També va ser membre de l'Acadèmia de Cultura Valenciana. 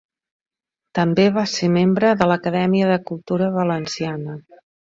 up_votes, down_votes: 2, 0